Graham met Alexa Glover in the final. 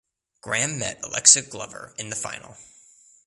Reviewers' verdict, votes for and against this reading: accepted, 2, 0